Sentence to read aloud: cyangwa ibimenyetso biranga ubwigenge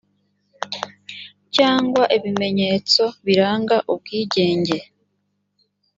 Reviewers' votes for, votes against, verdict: 2, 0, accepted